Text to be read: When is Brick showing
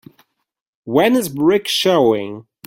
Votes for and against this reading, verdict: 3, 0, accepted